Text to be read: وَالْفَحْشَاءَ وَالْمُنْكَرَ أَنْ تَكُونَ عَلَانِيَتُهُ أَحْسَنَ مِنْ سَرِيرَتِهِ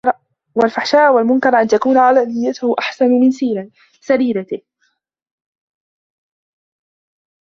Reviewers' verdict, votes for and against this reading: rejected, 0, 2